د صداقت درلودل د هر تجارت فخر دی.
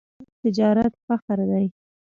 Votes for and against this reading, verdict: 1, 2, rejected